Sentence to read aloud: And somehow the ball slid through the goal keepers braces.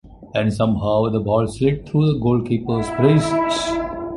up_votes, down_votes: 1, 2